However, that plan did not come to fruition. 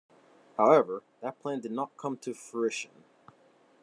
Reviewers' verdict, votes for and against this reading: rejected, 1, 2